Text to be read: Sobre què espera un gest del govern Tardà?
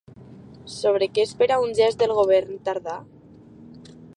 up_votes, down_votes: 2, 0